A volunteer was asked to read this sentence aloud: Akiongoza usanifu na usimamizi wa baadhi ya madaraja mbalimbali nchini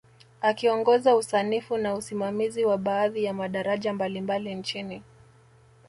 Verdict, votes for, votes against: accepted, 2, 0